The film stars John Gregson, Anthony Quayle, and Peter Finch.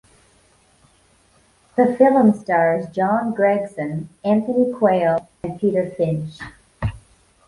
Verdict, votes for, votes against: rejected, 0, 2